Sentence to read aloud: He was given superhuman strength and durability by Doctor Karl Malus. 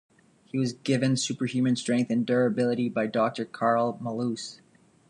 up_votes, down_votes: 2, 0